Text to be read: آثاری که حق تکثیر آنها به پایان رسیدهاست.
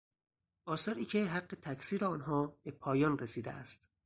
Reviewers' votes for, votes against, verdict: 2, 2, rejected